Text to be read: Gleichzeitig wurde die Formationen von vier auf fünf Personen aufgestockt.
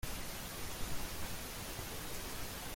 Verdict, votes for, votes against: rejected, 0, 2